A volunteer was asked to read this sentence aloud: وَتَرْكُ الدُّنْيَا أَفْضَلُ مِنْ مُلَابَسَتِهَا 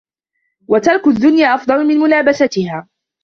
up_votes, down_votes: 2, 0